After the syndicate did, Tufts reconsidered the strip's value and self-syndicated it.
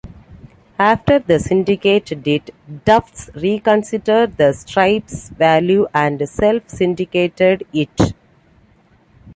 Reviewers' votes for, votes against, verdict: 2, 0, accepted